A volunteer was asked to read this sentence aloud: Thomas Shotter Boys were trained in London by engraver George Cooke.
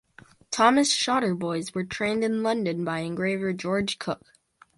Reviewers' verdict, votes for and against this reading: accepted, 4, 0